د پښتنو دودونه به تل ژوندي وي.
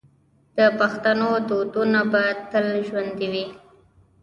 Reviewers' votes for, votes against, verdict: 1, 2, rejected